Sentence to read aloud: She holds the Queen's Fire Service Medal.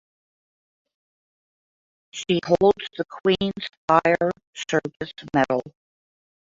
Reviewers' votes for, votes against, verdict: 2, 1, accepted